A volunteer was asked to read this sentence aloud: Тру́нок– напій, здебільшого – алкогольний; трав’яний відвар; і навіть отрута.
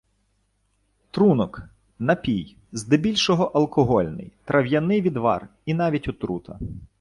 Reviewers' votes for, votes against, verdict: 2, 0, accepted